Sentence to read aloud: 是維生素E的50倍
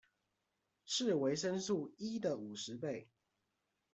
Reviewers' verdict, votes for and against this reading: rejected, 0, 2